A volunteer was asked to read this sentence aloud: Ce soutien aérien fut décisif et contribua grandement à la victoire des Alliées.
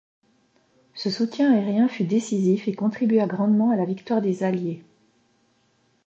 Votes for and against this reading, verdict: 2, 0, accepted